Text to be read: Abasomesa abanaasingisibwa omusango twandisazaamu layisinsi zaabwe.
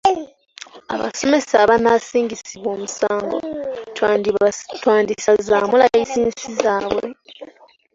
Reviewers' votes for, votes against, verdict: 1, 2, rejected